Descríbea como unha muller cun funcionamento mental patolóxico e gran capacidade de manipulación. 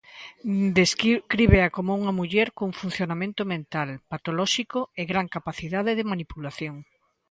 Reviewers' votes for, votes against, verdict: 0, 2, rejected